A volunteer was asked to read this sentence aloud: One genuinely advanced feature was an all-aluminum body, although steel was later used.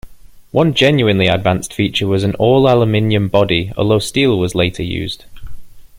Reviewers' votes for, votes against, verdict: 1, 2, rejected